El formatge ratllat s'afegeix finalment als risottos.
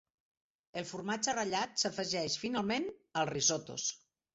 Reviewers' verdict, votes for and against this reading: accepted, 3, 0